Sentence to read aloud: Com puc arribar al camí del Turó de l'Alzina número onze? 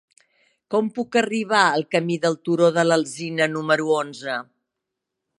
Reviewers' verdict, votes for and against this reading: accepted, 3, 0